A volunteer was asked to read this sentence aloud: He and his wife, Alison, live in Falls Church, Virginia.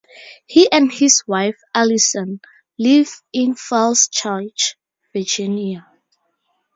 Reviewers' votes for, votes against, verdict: 2, 0, accepted